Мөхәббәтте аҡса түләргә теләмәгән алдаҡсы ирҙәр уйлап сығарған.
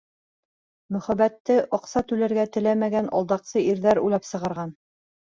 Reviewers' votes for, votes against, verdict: 2, 0, accepted